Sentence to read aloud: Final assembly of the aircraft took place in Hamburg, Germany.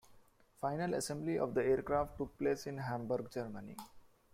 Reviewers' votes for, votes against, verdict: 2, 1, accepted